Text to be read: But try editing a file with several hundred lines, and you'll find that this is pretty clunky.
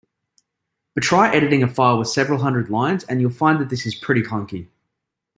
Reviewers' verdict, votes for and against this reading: accepted, 2, 0